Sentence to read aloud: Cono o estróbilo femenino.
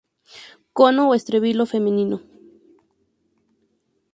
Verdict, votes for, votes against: accepted, 6, 0